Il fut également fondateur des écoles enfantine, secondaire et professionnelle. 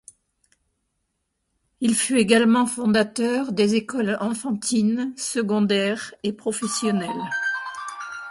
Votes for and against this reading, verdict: 2, 0, accepted